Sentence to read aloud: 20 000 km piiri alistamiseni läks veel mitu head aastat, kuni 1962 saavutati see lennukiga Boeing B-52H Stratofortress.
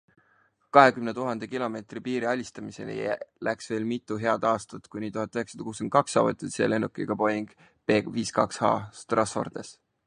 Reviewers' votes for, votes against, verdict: 0, 2, rejected